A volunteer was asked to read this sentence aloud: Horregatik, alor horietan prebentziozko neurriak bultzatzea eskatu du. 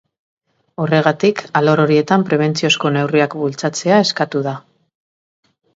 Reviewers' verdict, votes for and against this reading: rejected, 1, 2